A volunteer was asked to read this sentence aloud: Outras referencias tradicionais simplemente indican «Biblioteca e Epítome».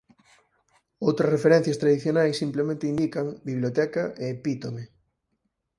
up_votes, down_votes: 4, 0